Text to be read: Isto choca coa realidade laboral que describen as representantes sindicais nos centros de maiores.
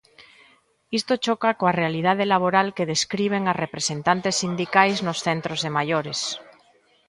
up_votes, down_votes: 1, 2